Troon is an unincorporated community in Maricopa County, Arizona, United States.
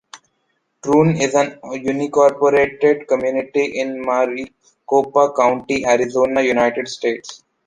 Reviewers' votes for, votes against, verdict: 2, 0, accepted